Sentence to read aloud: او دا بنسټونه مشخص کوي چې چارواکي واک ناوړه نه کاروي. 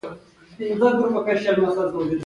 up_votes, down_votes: 2, 1